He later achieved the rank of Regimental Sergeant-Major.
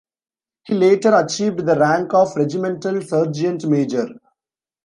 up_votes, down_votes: 0, 2